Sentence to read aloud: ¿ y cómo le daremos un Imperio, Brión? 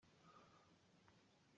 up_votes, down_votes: 0, 2